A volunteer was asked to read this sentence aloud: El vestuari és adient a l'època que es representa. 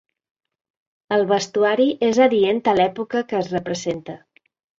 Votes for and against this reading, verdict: 2, 0, accepted